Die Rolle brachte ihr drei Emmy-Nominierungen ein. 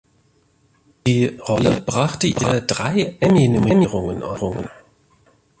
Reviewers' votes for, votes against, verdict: 0, 2, rejected